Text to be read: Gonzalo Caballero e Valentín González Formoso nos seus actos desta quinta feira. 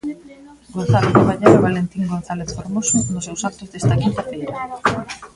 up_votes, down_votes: 0, 2